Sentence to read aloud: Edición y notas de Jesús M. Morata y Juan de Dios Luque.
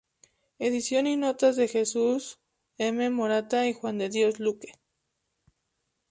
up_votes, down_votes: 0, 2